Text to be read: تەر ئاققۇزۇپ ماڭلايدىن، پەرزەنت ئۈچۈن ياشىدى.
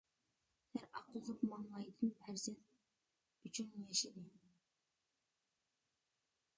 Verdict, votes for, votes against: rejected, 0, 2